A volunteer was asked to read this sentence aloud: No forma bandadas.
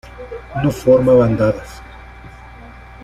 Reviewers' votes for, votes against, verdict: 2, 1, accepted